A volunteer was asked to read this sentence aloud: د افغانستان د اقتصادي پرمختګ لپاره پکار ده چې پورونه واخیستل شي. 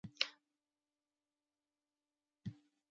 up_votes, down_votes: 0, 2